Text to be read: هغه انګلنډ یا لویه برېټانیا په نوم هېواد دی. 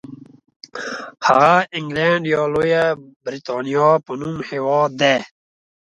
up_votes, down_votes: 2, 0